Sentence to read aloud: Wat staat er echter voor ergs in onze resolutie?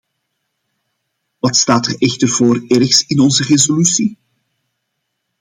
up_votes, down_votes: 2, 0